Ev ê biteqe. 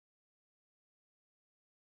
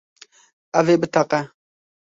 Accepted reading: second